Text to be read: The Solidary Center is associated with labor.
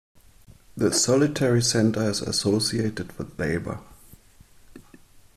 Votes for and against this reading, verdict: 2, 1, accepted